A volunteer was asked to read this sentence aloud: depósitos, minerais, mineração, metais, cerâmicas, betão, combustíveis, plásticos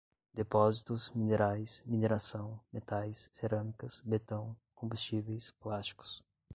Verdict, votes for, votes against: accepted, 2, 0